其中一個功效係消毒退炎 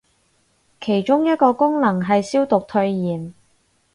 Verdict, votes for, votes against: rejected, 2, 2